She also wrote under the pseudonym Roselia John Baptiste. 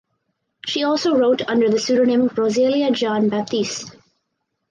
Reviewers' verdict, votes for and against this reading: accepted, 6, 0